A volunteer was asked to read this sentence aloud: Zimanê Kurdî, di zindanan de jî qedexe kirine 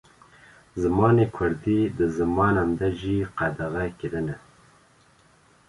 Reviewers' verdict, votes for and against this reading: rejected, 1, 2